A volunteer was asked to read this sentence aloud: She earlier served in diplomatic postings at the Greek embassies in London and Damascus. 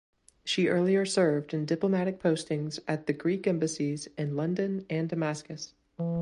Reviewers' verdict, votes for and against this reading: accepted, 2, 0